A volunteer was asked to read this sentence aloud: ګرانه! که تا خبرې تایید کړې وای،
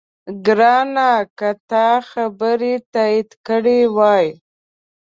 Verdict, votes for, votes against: accepted, 2, 0